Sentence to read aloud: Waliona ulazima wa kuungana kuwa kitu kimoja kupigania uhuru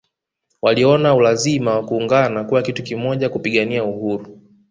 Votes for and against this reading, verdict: 2, 0, accepted